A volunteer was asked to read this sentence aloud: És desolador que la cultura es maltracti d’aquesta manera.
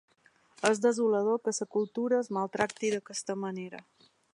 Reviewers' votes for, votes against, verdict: 1, 2, rejected